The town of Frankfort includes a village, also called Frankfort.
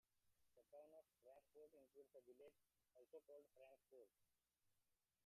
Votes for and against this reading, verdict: 0, 2, rejected